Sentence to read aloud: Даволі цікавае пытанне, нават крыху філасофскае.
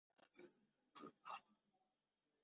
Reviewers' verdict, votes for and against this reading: rejected, 0, 3